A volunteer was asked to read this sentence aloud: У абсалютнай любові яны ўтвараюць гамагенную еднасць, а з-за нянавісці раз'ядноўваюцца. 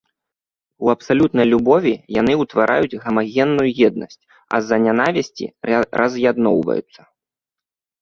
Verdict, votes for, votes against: rejected, 0, 2